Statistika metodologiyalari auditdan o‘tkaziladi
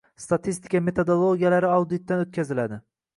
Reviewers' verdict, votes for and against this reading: accepted, 2, 0